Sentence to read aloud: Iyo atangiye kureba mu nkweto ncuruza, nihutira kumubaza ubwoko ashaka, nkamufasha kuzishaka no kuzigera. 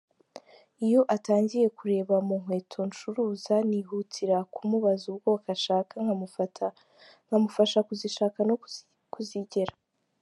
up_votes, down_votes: 1, 2